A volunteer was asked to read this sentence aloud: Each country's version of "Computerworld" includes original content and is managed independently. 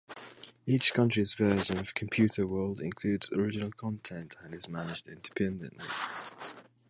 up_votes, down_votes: 1, 2